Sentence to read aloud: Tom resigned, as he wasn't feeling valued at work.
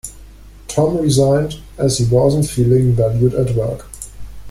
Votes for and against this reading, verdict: 1, 2, rejected